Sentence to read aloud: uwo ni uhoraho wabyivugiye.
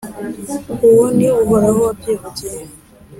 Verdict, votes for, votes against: accepted, 3, 0